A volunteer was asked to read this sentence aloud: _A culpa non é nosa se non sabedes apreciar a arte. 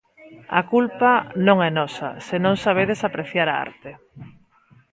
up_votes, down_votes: 1, 2